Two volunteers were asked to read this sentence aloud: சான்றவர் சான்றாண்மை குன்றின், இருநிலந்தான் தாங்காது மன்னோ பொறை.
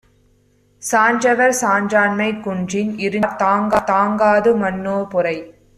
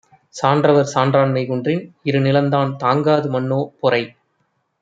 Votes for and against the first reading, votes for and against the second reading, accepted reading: 0, 2, 2, 0, second